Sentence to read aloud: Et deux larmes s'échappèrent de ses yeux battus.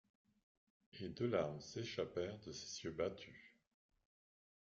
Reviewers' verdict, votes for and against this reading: rejected, 1, 2